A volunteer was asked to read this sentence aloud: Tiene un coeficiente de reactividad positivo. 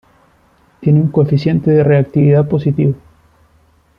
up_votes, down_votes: 2, 0